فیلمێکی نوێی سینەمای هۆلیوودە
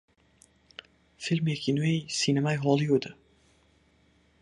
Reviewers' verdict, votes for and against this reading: accepted, 4, 2